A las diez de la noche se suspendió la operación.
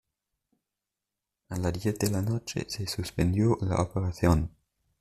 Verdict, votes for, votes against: accepted, 2, 0